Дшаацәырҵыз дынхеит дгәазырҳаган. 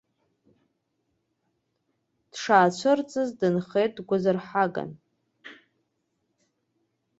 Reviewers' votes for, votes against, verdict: 2, 0, accepted